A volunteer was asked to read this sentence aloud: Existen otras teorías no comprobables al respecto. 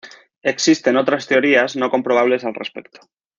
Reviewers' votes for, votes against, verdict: 2, 0, accepted